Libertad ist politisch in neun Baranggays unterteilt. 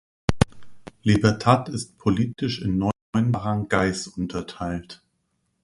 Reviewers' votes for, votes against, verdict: 0, 2, rejected